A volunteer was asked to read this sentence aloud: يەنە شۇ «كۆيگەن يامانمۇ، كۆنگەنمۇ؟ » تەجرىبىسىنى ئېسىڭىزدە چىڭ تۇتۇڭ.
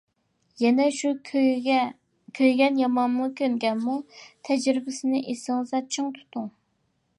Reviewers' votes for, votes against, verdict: 0, 2, rejected